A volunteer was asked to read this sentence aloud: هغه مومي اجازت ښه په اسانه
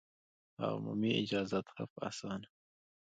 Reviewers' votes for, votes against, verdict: 1, 2, rejected